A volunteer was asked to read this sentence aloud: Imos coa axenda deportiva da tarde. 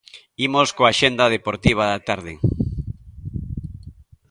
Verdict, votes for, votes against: accepted, 2, 0